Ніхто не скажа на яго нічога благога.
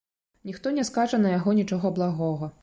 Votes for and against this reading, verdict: 2, 0, accepted